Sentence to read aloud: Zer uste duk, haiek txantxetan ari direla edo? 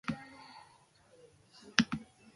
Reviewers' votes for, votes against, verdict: 0, 2, rejected